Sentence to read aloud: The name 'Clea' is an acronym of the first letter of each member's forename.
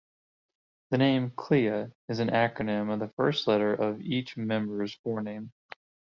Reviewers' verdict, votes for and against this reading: accepted, 2, 0